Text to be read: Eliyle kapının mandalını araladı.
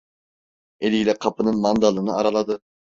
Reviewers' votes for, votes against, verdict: 2, 0, accepted